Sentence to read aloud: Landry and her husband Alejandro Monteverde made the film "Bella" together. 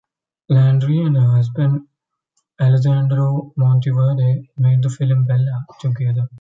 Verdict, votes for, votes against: rejected, 0, 2